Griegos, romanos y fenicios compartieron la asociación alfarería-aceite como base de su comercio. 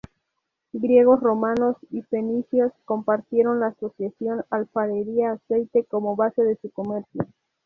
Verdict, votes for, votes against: accepted, 2, 0